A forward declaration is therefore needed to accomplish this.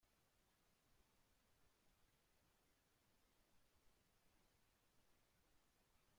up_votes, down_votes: 0, 2